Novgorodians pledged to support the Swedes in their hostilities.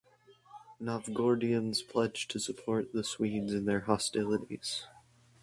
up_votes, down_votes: 4, 0